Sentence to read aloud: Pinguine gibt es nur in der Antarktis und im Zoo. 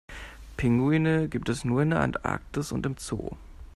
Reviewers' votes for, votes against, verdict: 2, 0, accepted